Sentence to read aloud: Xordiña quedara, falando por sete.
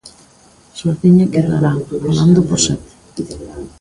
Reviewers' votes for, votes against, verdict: 1, 2, rejected